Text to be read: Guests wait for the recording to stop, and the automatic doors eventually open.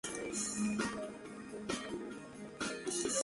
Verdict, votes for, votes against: rejected, 0, 5